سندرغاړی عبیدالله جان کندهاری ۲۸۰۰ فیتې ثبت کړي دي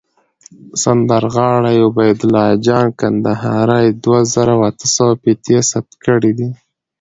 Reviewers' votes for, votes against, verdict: 0, 2, rejected